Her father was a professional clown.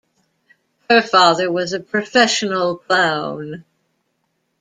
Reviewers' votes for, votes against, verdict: 2, 0, accepted